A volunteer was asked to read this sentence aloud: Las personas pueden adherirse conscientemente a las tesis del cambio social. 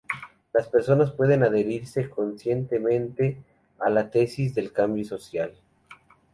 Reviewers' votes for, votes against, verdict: 0, 2, rejected